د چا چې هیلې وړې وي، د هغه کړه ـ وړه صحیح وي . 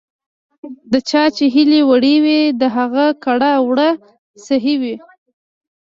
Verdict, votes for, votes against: accepted, 2, 0